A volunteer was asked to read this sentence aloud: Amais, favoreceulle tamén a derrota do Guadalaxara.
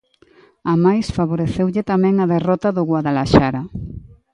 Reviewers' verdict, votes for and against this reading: accepted, 2, 0